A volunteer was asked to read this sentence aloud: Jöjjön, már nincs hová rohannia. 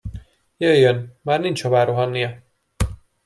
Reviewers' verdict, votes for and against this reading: accepted, 2, 0